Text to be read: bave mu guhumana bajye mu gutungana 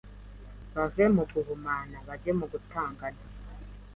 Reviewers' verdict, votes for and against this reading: rejected, 0, 2